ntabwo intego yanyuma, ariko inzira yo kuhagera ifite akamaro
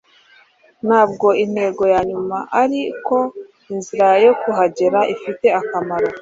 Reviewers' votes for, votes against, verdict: 2, 0, accepted